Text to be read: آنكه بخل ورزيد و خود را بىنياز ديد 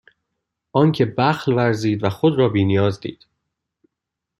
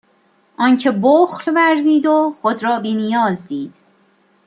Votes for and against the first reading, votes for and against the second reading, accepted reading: 1, 2, 2, 1, second